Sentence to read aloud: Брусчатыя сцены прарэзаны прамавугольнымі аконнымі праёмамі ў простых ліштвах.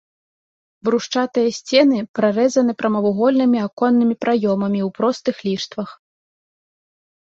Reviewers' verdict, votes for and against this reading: accepted, 2, 0